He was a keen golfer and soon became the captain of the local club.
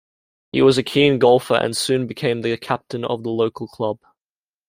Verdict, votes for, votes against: rejected, 0, 2